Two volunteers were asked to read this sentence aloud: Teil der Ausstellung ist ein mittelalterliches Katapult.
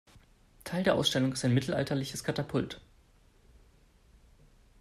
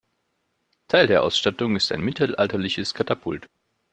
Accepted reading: first